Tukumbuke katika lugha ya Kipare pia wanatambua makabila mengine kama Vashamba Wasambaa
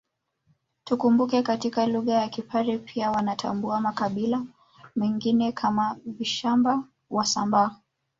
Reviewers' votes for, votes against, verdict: 2, 1, accepted